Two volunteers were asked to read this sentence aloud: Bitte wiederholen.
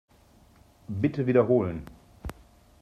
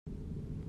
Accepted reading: first